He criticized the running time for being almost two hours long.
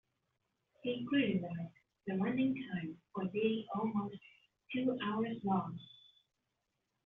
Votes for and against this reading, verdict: 2, 3, rejected